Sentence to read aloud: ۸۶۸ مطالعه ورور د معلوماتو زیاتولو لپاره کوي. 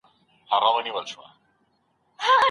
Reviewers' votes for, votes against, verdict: 0, 2, rejected